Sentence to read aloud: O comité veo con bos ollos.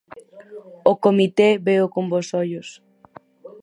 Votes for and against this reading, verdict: 2, 2, rejected